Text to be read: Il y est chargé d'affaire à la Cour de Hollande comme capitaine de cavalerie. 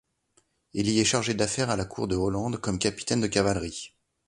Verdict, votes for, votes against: accepted, 2, 0